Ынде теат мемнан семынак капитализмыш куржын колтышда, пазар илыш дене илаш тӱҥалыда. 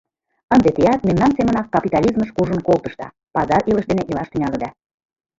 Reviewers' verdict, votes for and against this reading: rejected, 0, 2